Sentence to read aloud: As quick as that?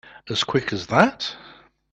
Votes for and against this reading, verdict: 2, 0, accepted